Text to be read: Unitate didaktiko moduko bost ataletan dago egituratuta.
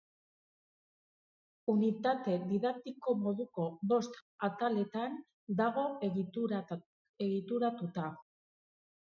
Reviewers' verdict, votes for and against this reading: rejected, 0, 4